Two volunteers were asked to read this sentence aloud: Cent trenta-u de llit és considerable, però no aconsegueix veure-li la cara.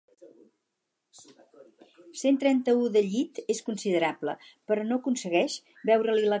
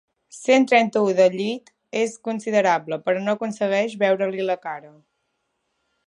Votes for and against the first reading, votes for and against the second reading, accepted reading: 2, 2, 3, 0, second